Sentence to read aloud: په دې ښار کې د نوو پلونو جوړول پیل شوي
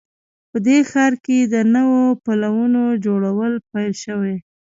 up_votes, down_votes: 1, 2